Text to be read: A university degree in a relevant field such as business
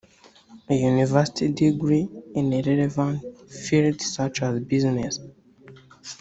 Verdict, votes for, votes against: rejected, 0, 2